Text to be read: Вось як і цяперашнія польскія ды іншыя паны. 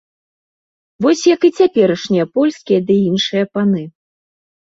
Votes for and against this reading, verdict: 2, 0, accepted